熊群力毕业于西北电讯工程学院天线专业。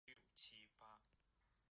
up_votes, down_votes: 0, 2